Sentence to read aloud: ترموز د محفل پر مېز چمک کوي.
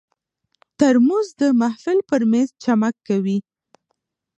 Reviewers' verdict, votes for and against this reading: rejected, 1, 2